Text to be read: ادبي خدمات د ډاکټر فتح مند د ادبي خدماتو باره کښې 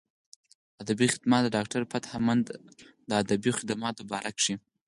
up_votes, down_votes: 4, 0